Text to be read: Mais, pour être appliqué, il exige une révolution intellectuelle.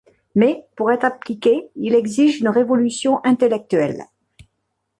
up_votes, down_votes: 2, 0